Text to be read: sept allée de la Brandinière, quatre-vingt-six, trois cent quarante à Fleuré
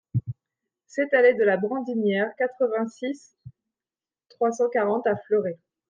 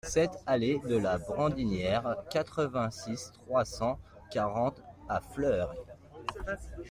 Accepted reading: first